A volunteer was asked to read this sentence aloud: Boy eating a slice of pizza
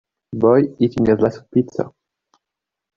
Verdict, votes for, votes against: rejected, 0, 2